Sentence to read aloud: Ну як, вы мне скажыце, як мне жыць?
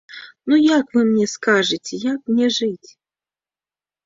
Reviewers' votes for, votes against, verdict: 0, 3, rejected